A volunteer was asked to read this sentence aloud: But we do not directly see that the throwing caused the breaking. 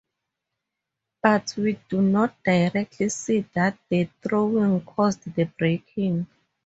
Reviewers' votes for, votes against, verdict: 2, 2, rejected